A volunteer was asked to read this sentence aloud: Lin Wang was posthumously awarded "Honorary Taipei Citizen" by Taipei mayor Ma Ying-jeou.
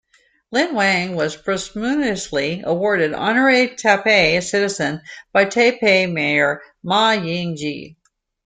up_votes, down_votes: 0, 2